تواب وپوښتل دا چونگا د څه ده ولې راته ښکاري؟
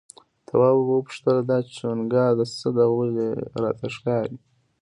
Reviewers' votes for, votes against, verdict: 0, 2, rejected